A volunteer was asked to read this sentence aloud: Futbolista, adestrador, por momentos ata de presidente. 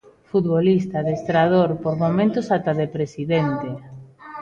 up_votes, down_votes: 1, 2